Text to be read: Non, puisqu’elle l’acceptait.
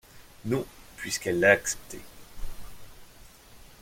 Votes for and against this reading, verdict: 0, 2, rejected